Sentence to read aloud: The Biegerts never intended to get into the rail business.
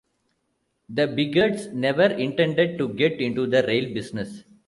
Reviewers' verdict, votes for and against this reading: accepted, 2, 0